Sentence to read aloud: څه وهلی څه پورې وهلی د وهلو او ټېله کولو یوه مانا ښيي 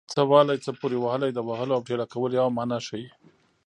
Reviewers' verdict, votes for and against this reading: accepted, 2, 0